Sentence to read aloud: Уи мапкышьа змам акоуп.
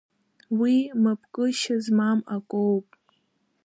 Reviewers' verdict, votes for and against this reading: accepted, 2, 1